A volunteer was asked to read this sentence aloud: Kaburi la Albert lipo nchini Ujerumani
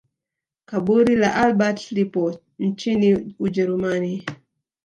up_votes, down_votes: 1, 2